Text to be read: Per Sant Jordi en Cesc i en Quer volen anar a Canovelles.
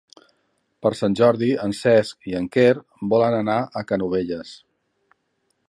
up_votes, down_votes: 3, 0